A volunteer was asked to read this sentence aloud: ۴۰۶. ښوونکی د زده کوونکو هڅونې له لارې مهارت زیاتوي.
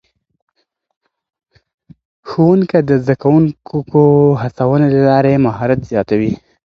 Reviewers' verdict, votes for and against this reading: rejected, 0, 2